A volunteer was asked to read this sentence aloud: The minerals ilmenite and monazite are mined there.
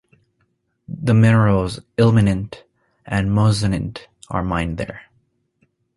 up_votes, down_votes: 1, 2